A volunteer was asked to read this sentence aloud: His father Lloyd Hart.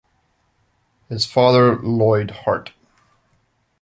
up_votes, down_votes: 2, 0